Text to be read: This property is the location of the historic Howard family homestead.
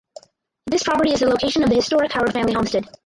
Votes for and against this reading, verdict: 2, 4, rejected